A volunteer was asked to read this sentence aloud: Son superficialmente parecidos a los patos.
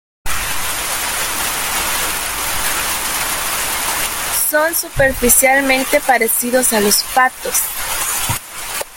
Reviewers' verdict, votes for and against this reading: rejected, 0, 2